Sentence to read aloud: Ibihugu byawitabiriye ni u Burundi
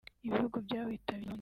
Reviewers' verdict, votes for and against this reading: rejected, 0, 4